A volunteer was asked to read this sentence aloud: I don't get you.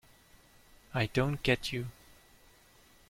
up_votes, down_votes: 2, 0